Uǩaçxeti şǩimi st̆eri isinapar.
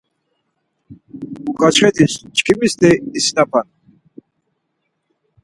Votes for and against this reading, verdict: 2, 4, rejected